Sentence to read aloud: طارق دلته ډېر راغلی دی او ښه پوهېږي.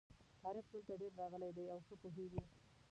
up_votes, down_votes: 0, 2